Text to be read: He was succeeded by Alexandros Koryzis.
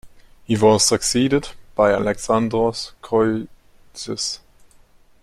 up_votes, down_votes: 0, 2